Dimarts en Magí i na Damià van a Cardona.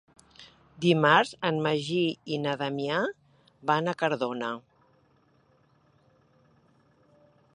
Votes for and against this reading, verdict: 3, 0, accepted